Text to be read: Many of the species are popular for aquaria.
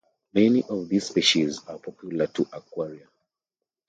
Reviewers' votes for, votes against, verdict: 2, 0, accepted